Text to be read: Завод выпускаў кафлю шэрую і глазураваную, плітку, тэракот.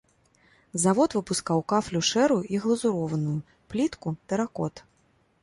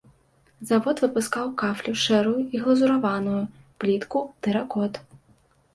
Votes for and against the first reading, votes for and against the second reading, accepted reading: 1, 2, 2, 0, second